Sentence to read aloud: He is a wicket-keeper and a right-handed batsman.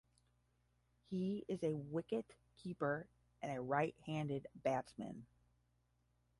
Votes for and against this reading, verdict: 5, 10, rejected